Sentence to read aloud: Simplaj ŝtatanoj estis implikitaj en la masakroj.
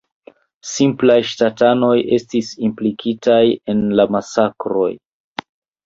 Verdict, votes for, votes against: accepted, 2, 0